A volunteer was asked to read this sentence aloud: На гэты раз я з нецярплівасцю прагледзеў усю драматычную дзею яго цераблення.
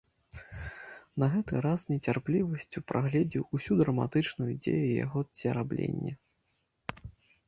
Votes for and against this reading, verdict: 0, 2, rejected